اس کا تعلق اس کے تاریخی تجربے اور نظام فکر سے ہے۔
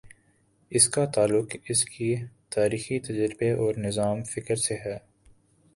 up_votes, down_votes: 2, 0